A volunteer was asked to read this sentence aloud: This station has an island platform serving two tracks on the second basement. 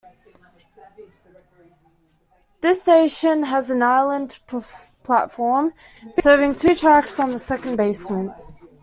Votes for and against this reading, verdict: 0, 2, rejected